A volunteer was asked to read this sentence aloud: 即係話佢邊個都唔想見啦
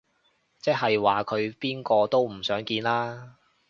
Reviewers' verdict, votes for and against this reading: accepted, 2, 0